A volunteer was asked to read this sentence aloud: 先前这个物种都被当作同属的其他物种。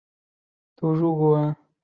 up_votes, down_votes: 0, 3